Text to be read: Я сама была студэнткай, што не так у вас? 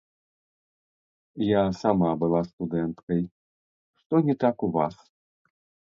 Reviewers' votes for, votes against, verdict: 0, 2, rejected